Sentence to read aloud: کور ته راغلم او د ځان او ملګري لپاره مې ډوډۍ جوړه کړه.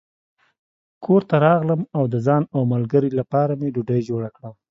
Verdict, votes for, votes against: accepted, 2, 0